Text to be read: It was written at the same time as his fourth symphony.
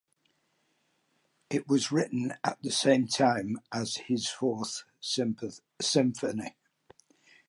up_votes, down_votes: 0, 2